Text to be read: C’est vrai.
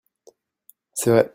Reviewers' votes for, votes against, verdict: 1, 2, rejected